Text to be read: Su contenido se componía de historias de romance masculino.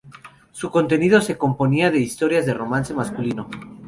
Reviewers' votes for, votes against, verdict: 2, 0, accepted